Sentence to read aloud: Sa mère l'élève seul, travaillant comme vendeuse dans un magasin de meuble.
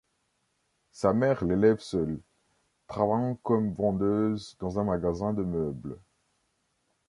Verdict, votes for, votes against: rejected, 0, 2